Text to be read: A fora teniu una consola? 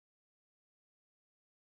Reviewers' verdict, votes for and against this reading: rejected, 0, 2